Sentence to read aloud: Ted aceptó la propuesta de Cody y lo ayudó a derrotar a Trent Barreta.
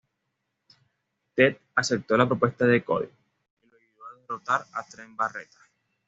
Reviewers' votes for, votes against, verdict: 1, 2, rejected